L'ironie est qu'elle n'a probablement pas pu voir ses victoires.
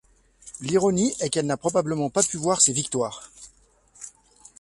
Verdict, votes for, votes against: rejected, 0, 2